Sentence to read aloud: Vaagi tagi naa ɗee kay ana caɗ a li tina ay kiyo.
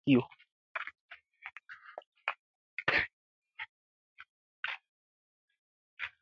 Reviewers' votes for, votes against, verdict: 1, 2, rejected